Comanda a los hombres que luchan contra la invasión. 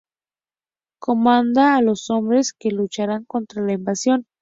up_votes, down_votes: 0, 2